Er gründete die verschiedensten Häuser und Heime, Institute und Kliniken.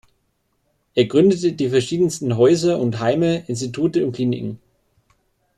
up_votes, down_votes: 2, 0